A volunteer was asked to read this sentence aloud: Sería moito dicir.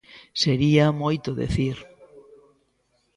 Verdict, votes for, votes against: rejected, 0, 2